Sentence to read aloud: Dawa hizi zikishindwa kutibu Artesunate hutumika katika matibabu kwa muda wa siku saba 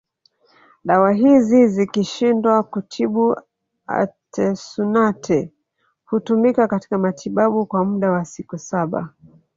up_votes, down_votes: 1, 2